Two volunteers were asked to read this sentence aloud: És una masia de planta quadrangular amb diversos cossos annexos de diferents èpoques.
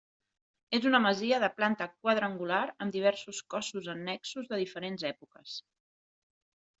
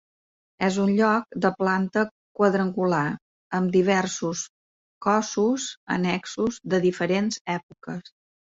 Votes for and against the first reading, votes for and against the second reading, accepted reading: 3, 0, 1, 2, first